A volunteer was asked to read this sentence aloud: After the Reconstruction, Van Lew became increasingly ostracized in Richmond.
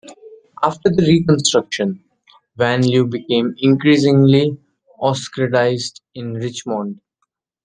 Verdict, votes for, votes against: rejected, 0, 2